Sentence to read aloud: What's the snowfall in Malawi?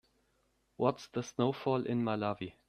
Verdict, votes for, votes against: accepted, 2, 0